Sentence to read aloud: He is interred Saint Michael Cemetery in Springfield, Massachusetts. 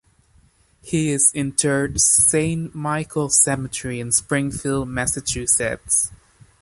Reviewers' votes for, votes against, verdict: 2, 0, accepted